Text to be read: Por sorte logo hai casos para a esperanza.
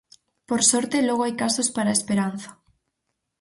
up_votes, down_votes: 6, 0